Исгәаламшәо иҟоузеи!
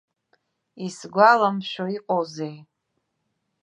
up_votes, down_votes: 2, 0